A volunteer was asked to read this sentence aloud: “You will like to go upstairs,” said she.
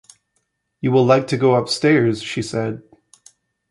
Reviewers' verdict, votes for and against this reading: rejected, 1, 2